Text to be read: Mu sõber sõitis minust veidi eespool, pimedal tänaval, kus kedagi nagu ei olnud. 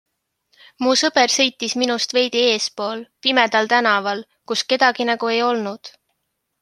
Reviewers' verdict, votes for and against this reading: accepted, 2, 0